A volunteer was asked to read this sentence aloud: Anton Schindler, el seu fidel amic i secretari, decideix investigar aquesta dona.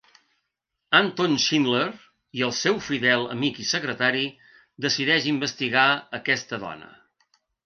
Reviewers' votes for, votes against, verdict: 0, 2, rejected